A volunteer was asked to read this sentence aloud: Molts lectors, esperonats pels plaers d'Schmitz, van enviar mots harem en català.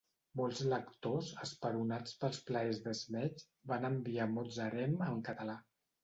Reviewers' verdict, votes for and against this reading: rejected, 1, 2